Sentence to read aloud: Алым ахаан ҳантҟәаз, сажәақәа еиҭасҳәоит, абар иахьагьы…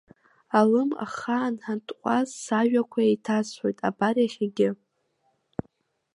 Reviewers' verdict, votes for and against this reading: rejected, 0, 2